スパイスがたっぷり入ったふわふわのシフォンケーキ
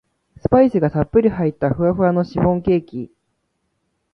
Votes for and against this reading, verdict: 2, 0, accepted